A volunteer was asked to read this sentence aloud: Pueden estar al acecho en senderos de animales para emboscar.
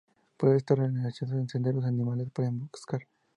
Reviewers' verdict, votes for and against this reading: rejected, 0, 2